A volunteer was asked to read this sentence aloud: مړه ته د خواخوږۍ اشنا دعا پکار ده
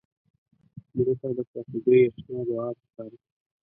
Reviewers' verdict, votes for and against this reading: rejected, 1, 2